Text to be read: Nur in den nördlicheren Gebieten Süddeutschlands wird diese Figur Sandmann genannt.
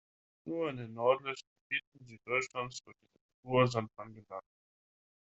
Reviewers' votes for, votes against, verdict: 0, 2, rejected